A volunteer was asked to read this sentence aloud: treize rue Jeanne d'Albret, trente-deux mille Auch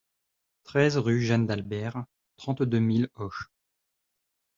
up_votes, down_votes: 0, 2